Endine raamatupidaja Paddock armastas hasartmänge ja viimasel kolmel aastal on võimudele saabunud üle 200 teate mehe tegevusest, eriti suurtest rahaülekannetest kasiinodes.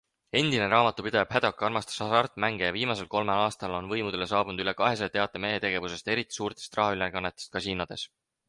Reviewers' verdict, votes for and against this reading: rejected, 0, 2